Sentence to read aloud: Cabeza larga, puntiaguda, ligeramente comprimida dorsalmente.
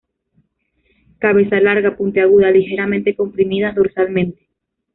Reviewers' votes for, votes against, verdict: 0, 2, rejected